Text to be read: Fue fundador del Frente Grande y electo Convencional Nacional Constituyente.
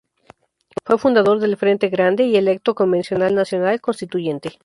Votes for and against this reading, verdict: 2, 0, accepted